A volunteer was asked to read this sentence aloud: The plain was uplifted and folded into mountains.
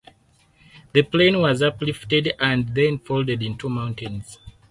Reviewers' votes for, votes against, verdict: 2, 4, rejected